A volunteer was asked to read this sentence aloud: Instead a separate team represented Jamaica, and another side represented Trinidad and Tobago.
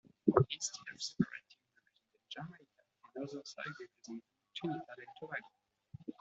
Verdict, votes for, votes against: rejected, 0, 2